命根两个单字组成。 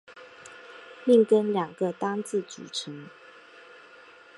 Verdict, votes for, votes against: accepted, 3, 0